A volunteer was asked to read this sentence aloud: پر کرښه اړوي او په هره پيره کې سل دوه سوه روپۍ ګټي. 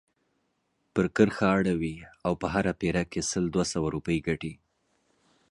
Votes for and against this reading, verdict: 2, 0, accepted